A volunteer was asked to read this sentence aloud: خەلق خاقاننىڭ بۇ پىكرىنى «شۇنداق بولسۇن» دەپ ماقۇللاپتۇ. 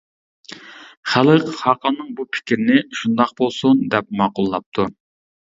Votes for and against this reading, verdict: 2, 0, accepted